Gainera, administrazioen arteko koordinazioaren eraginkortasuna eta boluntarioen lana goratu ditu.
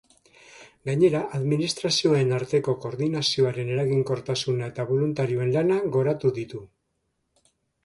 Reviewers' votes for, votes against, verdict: 2, 0, accepted